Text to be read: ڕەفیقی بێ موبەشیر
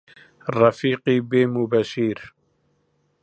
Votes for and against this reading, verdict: 2, 0, accepted